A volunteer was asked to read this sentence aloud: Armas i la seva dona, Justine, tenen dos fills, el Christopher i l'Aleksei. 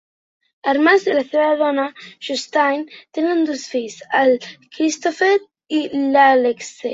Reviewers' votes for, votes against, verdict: 1, 2, rejected